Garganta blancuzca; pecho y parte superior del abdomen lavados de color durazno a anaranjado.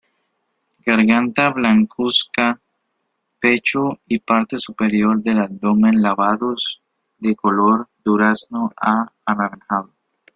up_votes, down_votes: 0, 3